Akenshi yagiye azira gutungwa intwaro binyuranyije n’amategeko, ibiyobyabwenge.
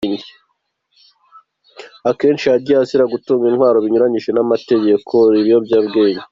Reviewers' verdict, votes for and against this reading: accepted, 2, 0